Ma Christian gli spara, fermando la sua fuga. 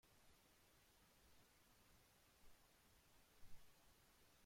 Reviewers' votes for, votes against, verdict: 0, 2, rejected